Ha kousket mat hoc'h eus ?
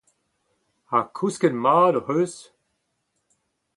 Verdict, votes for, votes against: accepted, 4, 0